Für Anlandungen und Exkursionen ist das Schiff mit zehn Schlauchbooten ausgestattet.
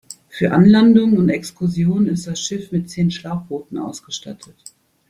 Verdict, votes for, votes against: accepted, 3, 0